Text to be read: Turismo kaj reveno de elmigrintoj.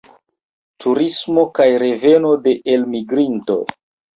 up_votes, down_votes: 2, 0